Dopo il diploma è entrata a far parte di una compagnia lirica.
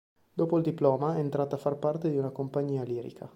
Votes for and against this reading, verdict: 2, 0, accepted